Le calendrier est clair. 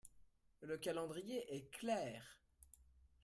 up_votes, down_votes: 0, 2